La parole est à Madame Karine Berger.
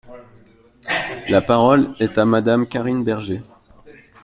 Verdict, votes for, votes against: accepted, 2, 0